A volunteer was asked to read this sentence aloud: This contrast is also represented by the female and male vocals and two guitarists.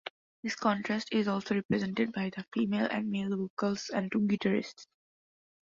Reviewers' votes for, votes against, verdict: 2, 0, accepted